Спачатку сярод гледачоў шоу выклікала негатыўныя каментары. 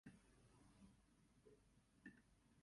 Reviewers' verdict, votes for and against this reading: rejected, 1, 2